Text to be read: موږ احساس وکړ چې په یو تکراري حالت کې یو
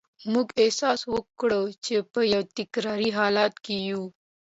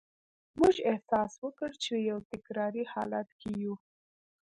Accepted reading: first